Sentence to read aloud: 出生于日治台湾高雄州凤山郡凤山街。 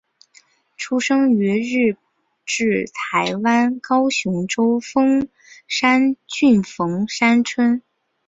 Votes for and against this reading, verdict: 0, 2, rejected